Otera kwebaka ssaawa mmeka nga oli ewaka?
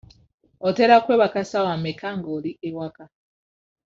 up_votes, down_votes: 1, 2